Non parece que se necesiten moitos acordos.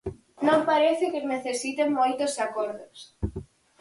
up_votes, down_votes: 0, 4